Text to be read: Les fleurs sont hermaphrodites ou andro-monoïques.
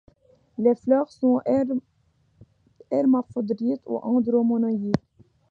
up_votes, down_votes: 1, 2